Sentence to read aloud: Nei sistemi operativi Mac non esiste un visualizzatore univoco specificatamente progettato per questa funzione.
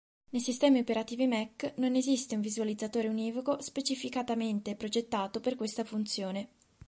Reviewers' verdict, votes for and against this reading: accepted, 3, 0